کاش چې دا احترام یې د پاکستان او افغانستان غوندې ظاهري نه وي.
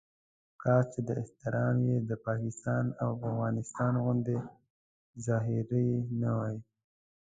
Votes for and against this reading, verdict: 1, 2, rejected